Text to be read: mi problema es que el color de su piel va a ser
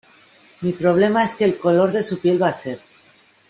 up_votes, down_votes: 2, 0